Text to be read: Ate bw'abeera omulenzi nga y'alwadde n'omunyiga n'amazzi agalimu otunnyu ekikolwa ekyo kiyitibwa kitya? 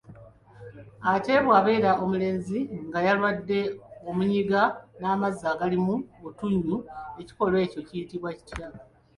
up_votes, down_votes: 1, 2